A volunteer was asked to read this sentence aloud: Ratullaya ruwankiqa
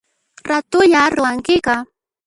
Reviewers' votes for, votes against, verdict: 0, 2, rejected